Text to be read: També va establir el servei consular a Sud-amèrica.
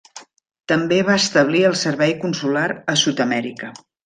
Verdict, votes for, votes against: accepted, 3, 0